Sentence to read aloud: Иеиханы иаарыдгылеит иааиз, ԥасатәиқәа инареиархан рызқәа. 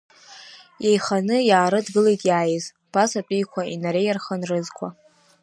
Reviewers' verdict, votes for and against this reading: accepted, 2, 0